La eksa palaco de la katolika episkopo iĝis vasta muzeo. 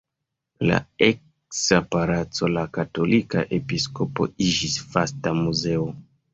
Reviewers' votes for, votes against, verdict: 1, 2, rejected